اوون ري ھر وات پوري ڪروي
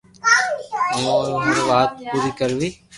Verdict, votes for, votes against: rejected, 0, 2